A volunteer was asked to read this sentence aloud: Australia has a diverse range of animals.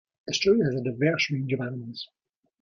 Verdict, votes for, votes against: rejected, 0, 2